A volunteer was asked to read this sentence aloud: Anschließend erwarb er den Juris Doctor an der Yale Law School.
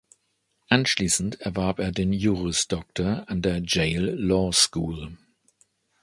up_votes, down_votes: 0, 2